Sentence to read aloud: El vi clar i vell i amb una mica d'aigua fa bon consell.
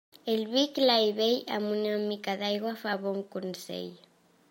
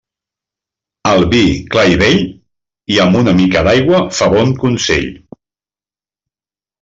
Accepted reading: second